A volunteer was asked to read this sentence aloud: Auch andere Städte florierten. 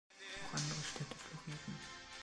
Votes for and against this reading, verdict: 0, 2, rejected